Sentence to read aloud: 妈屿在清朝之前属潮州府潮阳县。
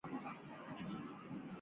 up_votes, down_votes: 0, 2